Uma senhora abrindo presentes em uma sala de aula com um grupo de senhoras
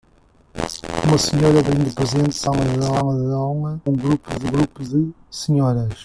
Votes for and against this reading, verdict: 0, 2, rejected